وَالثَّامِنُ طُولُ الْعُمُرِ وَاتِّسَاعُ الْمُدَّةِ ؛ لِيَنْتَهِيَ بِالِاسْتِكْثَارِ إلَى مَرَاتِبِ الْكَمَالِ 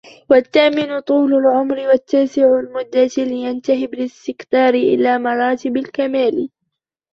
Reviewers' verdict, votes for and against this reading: rejected, 0, 2